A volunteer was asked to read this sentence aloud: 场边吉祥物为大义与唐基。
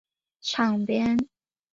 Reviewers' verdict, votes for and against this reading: rejected, 4, 5